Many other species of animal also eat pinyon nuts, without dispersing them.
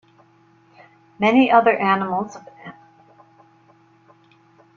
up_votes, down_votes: 0, 2